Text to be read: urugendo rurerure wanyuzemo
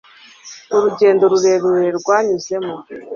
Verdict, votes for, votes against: rejected, 0, 2